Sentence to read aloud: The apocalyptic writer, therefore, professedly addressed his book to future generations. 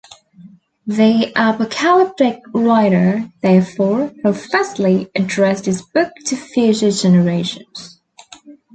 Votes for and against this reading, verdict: 1, 2, rejected